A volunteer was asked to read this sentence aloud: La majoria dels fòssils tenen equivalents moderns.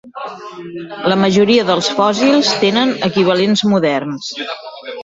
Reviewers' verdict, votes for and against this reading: rejected, 0, 2